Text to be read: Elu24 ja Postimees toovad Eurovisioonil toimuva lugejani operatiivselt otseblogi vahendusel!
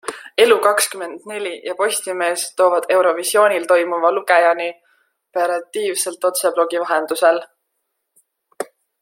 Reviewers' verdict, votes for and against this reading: rejected, 0, 2